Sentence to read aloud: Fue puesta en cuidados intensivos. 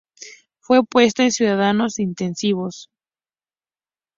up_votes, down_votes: 0, 2